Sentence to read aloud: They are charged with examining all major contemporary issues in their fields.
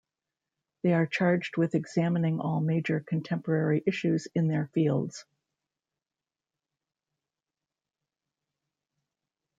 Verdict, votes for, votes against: accepted, 2, 1